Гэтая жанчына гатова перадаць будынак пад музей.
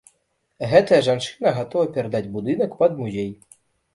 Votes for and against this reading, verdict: 2, 0, accepted